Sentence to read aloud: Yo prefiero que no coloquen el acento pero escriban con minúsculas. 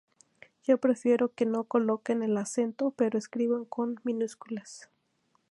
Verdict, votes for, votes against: accepted, 2, 0